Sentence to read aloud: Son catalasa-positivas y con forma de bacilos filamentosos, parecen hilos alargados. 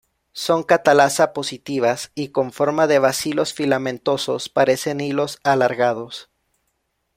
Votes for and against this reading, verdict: 2, 0, accepted